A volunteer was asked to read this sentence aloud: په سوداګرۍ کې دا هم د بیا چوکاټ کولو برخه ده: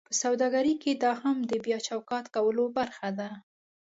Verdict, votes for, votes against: accepted, 2, 0